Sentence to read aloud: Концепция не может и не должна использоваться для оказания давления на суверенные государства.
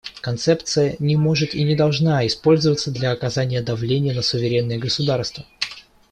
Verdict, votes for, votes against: accepted, 2, 0